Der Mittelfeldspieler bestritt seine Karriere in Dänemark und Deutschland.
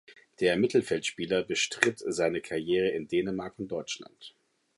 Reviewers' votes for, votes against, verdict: 2, 0, accepted